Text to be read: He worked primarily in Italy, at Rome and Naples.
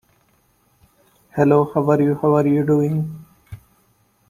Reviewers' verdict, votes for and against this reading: rejected, 0, 2